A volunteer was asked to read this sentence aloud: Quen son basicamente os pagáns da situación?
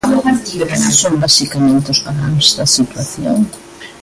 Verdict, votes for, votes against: rejected, 0, 2